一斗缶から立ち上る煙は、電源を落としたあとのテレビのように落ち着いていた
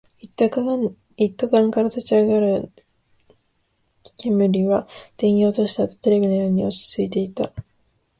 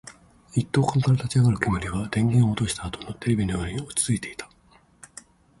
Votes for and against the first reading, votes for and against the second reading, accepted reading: 0, 2, 3, 0, second